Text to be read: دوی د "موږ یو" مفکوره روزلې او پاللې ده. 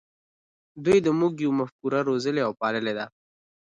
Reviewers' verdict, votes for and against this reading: accepted, 2, 1